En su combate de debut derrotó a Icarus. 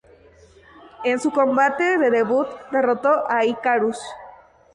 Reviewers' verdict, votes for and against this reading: accepted, 4, 0